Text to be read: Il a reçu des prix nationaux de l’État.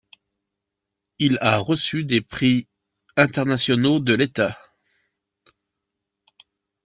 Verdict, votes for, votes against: rejected, 0, 2